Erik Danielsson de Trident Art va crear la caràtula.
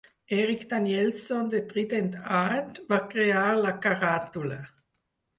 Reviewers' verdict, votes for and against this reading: accepted, 4, 2